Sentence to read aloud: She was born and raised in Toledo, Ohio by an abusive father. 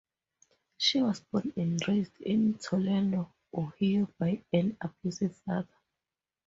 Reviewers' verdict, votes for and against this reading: rejected, 0, 2